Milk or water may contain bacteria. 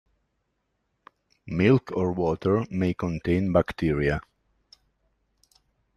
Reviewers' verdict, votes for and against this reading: accepted, 2, 0